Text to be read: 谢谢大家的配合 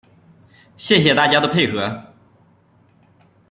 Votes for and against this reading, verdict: 2, 1, accepted